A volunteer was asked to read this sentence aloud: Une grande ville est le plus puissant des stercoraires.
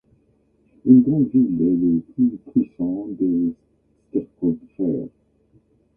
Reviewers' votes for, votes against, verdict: 0, 2, rejected